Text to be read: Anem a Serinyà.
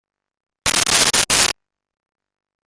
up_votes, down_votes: 0, 2